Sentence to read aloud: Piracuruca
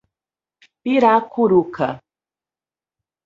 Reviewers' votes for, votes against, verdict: 4, 0, accepted